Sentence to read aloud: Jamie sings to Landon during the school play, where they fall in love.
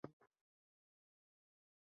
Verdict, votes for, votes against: rejected, 0, 2